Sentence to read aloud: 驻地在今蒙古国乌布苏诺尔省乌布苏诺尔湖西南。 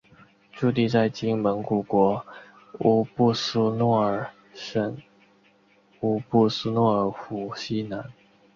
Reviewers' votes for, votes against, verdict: 3, 0, accepted